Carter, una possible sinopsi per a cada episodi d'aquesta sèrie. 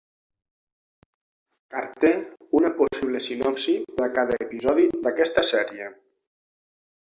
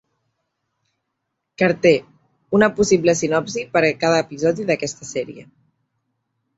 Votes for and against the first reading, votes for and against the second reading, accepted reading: 6, 0, 1, 2, first